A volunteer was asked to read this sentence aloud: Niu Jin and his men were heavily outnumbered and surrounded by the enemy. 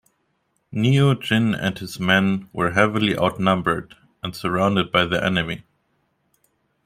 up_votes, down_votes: 0, 2